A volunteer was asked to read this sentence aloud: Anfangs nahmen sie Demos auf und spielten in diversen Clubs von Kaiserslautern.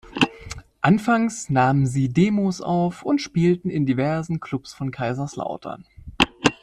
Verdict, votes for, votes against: accepted, 2, 0